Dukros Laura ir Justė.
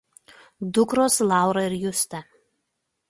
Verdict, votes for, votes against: accepted, 2, 0